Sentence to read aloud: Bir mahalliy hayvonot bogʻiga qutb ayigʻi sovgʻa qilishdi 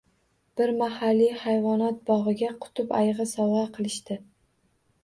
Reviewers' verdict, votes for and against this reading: accepted, 2, 0